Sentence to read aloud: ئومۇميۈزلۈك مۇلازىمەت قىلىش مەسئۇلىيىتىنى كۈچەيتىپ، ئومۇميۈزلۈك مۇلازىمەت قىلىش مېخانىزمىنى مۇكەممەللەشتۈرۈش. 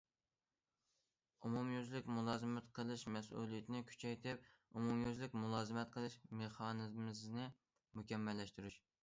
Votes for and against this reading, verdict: 0, 2, rejected